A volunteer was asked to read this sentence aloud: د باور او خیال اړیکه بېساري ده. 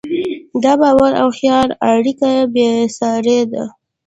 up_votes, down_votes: 2, 0